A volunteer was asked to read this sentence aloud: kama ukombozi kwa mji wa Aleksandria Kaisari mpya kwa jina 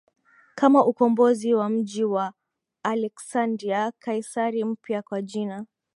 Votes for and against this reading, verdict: 4, 4, rejected